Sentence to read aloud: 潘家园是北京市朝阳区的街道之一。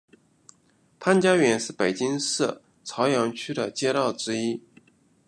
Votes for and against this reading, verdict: 2, 0, accepted